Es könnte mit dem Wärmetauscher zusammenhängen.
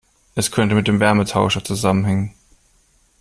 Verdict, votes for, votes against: accepted, 2, 0